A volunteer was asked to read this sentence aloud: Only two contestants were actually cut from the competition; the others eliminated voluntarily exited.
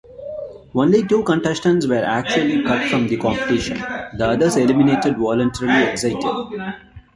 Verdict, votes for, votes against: rejected, 1, 2